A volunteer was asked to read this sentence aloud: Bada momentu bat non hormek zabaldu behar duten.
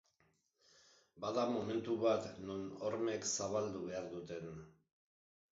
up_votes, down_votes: 0, 2